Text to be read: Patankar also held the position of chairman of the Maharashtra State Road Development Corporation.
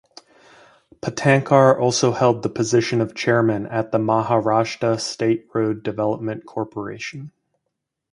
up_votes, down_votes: 2, 2